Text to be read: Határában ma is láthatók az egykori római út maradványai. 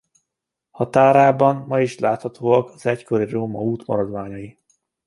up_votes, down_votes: 1, 2